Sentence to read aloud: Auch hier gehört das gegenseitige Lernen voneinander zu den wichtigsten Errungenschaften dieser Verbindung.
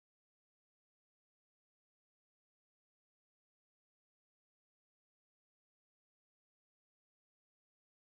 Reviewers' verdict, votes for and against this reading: rejected, 0, 4